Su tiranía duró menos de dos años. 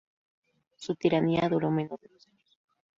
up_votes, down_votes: 0, 4